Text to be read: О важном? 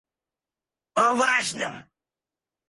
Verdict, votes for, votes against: rejected, 2, 4